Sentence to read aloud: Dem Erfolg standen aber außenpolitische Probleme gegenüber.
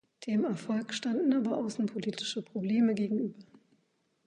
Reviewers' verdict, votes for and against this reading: rejected, 0, 2